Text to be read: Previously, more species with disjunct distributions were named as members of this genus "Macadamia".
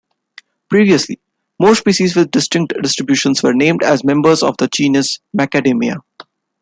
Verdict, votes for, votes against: rejected, 0, 2